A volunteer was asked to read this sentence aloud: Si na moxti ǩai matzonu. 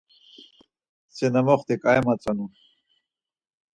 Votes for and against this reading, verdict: 4, 0, accepted